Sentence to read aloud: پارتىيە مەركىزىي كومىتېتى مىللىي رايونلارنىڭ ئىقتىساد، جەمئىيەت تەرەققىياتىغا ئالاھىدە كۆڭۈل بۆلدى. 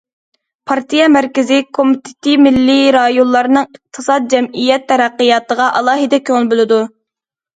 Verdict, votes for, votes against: rejected, 0, 2